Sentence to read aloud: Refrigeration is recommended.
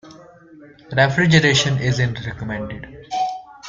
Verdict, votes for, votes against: rejected, 0, 2